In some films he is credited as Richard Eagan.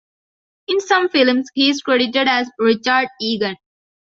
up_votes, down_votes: 2, 1